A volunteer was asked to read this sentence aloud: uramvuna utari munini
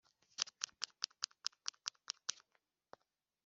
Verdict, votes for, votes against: rejected, 0, 2